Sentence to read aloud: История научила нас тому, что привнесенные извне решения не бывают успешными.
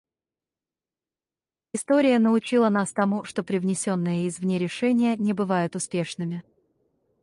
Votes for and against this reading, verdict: 0, 4, rejected